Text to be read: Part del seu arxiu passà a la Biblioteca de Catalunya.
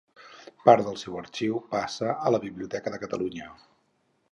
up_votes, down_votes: 0, 4